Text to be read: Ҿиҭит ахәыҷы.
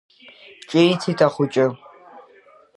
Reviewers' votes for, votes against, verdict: 2, 0, accepted